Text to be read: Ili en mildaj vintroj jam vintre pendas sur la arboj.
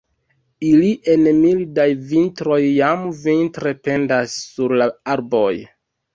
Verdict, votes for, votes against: accepted, 2, 1